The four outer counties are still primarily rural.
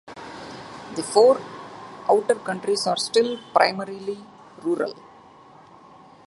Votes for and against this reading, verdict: 2, 1, accepted